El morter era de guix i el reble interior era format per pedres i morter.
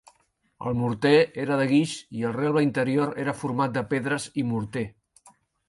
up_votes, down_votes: 0, 2